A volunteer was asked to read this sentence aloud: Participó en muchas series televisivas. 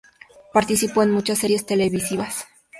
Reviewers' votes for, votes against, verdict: 2, 0, accepted